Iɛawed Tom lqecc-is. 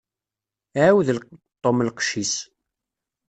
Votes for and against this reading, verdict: 1, 2, rejected